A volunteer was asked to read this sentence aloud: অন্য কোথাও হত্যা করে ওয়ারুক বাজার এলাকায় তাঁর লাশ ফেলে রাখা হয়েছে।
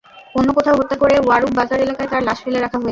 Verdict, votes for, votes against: rejected, 0, 2